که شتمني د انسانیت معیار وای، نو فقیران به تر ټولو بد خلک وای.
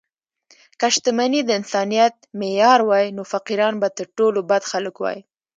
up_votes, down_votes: 2, 0